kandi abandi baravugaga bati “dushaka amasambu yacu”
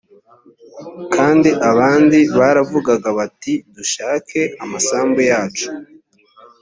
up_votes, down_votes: 1, 2